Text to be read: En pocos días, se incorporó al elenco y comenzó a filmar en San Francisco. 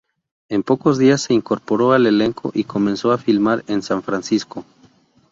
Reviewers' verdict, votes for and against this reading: accepted, 2, 0